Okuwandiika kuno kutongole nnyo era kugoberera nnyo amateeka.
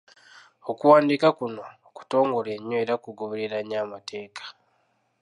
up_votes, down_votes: 2, 0